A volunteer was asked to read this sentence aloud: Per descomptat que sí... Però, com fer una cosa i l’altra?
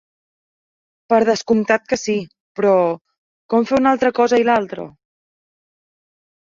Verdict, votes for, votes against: rejected, 0, 2